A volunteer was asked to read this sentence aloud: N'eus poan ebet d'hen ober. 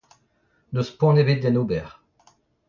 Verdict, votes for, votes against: rejected, 0, 2